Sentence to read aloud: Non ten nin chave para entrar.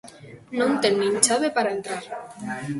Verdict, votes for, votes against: accepted, 2, 1